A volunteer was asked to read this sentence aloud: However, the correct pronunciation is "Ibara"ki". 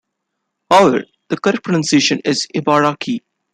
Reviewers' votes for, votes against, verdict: 2, 1, accepted